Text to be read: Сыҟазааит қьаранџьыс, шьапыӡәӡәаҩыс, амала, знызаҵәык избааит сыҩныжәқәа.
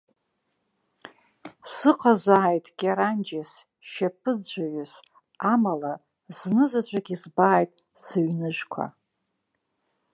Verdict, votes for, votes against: rejected, 1, 2